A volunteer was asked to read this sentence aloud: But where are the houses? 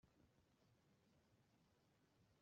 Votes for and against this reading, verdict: 0, 2, rejected